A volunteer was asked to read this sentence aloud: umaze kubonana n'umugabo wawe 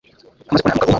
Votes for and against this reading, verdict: 0, 2, rejected